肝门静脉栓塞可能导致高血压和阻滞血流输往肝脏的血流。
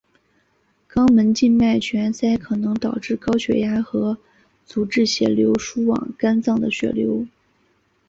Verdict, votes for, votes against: accepted, 2, 0